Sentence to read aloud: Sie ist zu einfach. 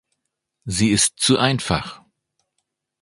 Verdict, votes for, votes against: accepted, 2, 0